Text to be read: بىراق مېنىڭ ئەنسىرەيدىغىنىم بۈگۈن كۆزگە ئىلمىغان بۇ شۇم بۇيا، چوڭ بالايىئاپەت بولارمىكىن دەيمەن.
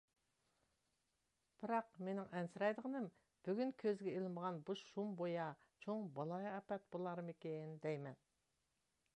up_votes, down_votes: 2, 0